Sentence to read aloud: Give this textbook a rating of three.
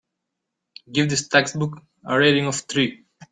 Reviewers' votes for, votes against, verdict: 2, 0, accepted